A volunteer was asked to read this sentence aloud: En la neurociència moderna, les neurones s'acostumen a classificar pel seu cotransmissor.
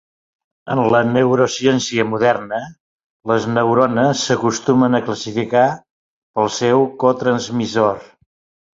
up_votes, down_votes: 5, 0